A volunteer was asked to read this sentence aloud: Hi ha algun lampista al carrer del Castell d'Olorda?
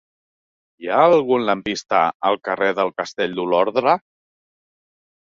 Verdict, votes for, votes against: rejected, 0, 2